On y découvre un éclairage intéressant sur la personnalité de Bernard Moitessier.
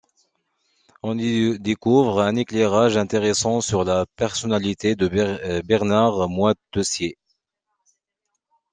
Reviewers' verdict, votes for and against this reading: rejected, 0, 2